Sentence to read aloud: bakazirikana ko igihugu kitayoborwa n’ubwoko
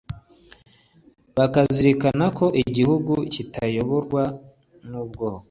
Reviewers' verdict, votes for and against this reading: accepted, 2, 0